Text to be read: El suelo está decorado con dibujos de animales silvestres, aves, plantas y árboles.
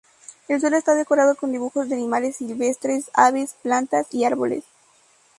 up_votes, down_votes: 2, 0